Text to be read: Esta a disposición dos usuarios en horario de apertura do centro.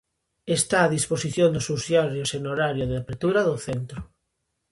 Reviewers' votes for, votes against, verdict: 0, 2, rejected